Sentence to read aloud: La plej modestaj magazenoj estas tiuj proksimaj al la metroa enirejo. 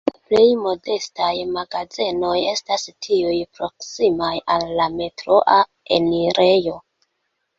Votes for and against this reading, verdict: 1, 2, rejected